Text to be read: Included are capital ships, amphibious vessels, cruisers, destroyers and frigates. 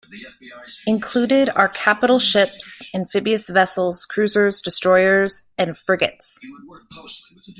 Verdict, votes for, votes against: accepted, 2, 0